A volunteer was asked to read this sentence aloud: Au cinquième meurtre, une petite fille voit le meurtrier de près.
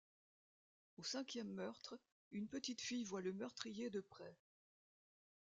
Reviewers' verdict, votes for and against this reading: rejected, 0, 2